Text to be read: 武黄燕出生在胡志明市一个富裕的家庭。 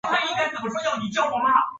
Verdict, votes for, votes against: rejected, 3, 7